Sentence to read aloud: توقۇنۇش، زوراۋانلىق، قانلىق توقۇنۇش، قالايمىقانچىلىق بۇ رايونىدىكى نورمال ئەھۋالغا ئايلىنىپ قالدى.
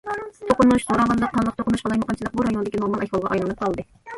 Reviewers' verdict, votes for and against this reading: rejected, 0, 2